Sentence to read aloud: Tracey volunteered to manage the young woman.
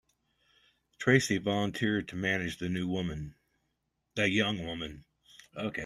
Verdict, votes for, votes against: rejected, 0, 2